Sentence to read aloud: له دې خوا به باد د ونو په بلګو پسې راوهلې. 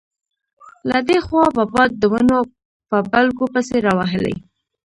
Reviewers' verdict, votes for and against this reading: rejected, 0, 2